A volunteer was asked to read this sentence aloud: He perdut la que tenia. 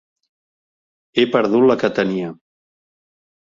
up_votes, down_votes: 2, 0